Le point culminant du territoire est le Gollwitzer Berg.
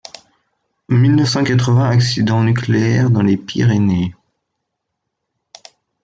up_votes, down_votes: 0, 2